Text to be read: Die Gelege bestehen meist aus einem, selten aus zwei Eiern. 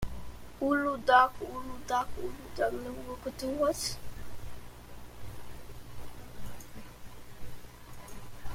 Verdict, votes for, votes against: rejected, 0, 3